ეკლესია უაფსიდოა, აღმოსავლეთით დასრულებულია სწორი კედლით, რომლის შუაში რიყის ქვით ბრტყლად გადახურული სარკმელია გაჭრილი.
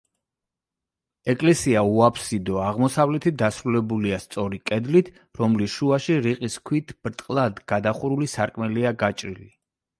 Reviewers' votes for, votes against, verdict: 2, 0, accepted